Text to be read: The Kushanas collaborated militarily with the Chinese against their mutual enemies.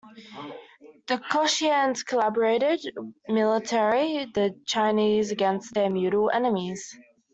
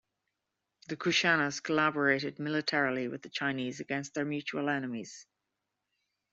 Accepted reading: second